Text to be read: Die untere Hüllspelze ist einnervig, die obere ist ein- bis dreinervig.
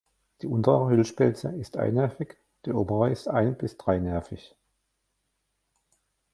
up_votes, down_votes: 1, 2